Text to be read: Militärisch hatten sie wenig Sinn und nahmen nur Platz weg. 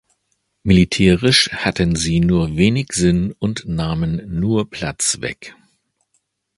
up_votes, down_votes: 1, 2